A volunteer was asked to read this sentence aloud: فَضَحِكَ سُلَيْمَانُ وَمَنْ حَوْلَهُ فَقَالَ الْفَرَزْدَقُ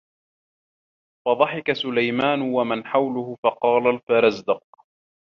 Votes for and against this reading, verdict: 1, 2, rejected